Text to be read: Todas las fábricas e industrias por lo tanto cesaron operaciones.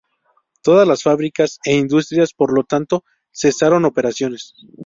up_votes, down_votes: 2, 0